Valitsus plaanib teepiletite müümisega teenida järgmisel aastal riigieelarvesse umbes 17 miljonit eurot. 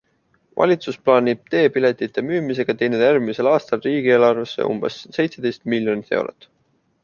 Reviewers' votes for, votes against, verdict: 0, 2, rejected